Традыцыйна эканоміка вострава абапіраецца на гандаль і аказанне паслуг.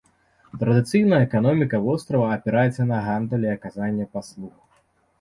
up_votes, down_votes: 0, 2